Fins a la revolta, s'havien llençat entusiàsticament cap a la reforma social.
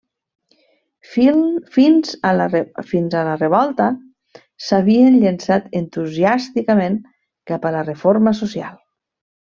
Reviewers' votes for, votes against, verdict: 1, 2, rejected